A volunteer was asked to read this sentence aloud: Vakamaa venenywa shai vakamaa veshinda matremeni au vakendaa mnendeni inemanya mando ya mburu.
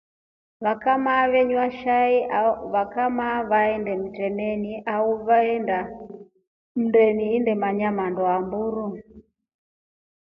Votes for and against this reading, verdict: 2, 1, accepted